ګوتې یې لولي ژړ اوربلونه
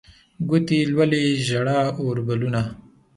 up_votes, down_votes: 2, 0